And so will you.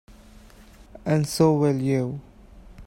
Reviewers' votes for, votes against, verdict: 2, 1, accepted